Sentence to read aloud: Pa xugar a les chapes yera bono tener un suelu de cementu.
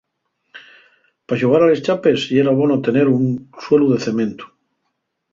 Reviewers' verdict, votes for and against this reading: rejected, 0, 2